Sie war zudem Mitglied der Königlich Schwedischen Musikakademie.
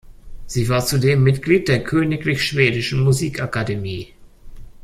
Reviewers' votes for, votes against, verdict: 3, 0, accepted